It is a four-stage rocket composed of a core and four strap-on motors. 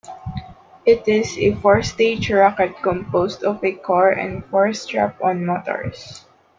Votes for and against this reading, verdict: 2, 0, accepted